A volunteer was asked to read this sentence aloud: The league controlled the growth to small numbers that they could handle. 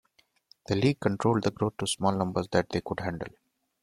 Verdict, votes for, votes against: rejected, 1, 2